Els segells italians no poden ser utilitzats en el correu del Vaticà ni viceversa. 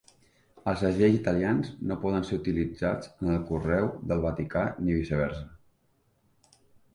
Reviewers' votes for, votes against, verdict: 2, 1, accepted